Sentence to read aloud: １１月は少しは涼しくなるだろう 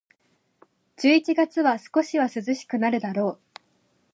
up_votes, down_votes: 0, 2